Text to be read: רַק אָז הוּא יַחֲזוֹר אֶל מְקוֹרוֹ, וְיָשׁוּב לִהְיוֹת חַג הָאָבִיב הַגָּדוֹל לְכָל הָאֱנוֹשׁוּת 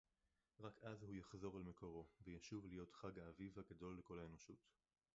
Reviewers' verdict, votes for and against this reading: rejected, 0, 4